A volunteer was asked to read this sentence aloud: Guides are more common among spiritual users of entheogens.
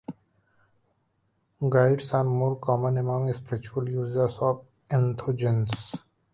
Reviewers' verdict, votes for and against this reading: rejected, 1, 2